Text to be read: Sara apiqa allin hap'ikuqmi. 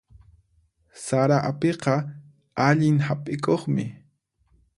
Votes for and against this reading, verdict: 4, 0, accepted